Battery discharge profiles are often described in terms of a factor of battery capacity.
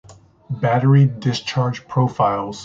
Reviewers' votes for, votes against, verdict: 0, 3, rejected